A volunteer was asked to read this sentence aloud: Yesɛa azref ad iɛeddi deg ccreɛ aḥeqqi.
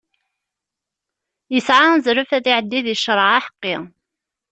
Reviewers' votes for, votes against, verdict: 2, 0, accepted